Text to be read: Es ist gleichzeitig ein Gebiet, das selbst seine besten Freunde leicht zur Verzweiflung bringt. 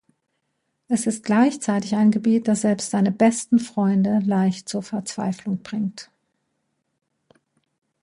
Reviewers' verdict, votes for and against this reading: accepted, 2, 0